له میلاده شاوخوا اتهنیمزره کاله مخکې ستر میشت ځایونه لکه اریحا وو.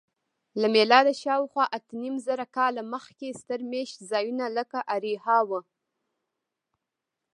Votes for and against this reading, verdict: 2, 1, accepted